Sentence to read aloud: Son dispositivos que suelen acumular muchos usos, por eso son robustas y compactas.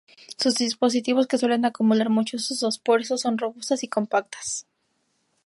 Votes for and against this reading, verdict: 0, 2, rejected